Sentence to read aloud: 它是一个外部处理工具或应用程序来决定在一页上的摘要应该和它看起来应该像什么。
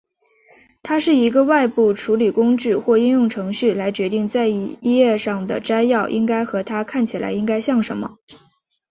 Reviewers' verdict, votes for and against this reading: accepted, 2, 0